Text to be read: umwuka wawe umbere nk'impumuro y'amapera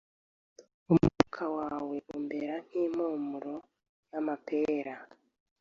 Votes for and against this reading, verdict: 1, 2, rejected